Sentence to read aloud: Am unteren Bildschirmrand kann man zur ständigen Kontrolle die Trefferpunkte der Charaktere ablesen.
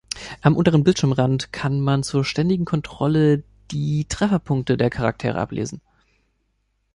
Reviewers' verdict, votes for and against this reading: accepted, 2, 0